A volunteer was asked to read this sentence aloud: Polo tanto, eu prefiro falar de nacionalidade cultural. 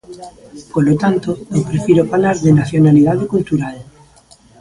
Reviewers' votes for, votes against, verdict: 0, 2, rejected